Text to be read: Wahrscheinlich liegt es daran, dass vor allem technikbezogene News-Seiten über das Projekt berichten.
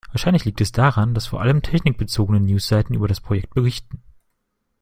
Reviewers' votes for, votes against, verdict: 2, 0, accepted